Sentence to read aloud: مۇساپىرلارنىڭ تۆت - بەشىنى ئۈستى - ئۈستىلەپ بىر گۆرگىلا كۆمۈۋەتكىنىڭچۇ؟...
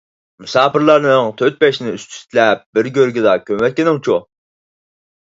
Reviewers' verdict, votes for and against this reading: accepted, 4, 0